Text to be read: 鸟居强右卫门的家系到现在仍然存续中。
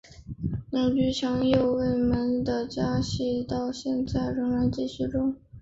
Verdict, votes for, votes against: accepted, 2, 1